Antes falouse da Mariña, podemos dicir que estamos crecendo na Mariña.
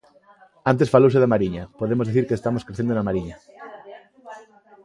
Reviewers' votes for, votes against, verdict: 3, 0, accepted